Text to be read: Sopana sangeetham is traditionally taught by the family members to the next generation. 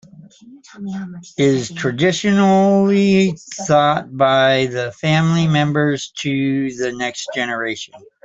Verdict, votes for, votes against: rejected, 0, 2